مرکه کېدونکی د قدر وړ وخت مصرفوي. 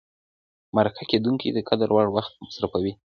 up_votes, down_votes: 2, 0